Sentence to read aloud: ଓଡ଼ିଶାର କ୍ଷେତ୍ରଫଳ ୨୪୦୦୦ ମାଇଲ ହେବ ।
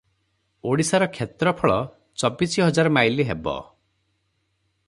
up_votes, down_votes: 0, 2